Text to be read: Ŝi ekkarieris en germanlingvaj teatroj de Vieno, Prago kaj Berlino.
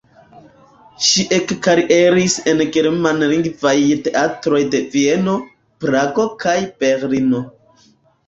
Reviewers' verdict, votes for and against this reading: accepted, 2, 0